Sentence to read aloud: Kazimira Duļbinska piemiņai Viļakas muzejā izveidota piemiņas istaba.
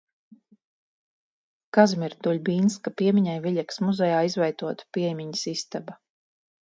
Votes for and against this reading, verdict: 4, 0, accepted